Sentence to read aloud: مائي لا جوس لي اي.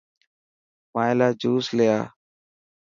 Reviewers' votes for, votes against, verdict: 4, 0, accepted